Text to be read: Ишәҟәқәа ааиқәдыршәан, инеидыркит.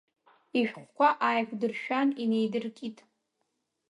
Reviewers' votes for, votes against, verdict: 2, 0, accepted